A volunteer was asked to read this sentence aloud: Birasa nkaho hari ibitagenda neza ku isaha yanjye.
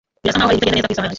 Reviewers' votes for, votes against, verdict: 0, 2, rejected